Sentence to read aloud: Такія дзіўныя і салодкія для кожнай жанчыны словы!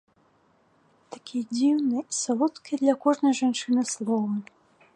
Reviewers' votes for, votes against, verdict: 2, 1, accepted